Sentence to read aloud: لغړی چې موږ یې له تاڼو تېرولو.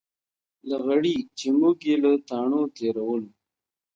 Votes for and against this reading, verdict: 1, 2, rejected